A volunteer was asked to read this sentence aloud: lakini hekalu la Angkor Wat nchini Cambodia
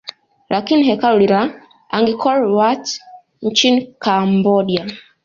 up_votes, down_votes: 2, 0